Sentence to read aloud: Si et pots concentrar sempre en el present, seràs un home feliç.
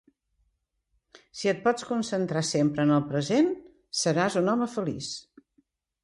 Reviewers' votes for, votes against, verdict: 3, 0, accepted